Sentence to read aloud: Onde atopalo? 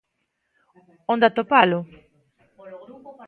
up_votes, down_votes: 0, 2